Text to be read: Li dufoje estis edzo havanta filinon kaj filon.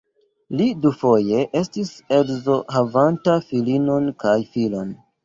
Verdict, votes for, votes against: accepted, 2, 0